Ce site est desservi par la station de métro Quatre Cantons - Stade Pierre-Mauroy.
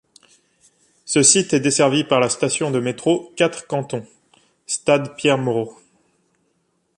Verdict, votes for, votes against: rejected, 1, 2